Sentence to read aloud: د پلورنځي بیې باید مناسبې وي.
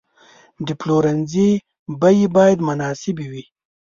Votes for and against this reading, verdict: 2, 0, accepted